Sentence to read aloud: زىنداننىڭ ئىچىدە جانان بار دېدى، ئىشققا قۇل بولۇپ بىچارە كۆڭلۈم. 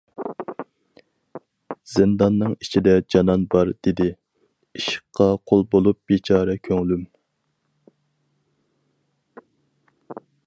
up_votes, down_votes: 0, 4